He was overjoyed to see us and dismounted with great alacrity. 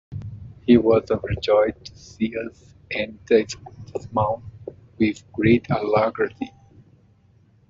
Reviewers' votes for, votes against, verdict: 1, 2, rejected